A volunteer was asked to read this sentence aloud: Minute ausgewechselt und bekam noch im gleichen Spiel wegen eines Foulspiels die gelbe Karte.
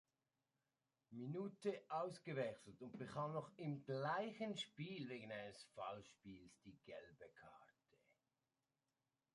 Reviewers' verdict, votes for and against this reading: accepted, 2, 1